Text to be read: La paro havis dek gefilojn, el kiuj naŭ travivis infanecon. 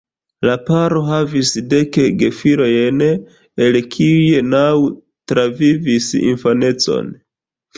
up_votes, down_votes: 1, 2